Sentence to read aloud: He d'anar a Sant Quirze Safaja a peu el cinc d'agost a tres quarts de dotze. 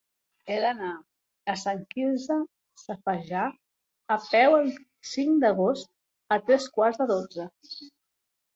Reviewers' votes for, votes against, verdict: 0, 2, rejected